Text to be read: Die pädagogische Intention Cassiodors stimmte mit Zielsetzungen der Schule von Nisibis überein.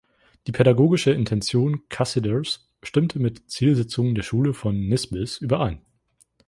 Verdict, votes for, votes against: rejected, 1, 2